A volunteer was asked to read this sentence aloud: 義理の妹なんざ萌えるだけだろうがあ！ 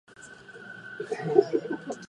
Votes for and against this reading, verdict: 0, 2, rejected